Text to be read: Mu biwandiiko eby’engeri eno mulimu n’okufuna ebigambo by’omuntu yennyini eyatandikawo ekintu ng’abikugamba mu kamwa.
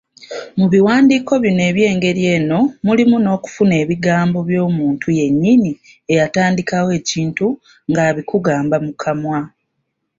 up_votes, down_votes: 1, 2